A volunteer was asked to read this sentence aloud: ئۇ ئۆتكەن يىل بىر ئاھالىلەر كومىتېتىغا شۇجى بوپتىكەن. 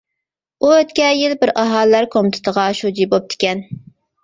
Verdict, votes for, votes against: accepted, 2, 0